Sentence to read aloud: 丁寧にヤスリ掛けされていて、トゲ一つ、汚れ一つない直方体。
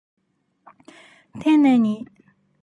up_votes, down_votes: 0, 2